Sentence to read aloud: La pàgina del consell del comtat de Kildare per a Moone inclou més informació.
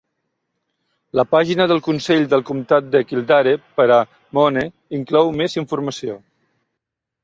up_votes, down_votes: 0, 2